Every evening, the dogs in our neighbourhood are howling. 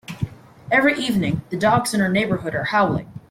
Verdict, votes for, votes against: accepted, 2, 1